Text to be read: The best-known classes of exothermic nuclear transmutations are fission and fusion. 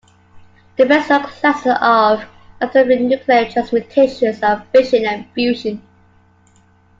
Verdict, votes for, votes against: rejected, 1, 2